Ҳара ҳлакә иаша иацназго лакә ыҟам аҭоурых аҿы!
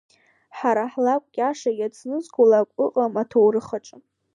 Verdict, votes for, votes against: accepted, 2, 1